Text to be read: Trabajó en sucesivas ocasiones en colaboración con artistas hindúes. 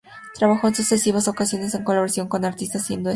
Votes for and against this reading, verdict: 2, 0, accepted